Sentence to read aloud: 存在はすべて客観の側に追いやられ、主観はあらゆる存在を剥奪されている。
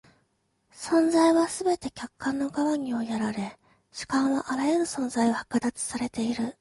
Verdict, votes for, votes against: accepted, 2, 0